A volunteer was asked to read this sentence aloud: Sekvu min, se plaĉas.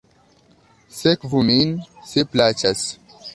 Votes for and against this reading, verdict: 2, 0, accepted